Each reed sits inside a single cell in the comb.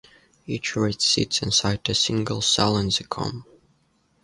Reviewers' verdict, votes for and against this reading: rejected, 0, 2